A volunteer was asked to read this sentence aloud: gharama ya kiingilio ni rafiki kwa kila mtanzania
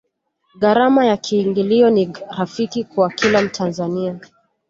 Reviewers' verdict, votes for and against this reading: accepted, 2, 0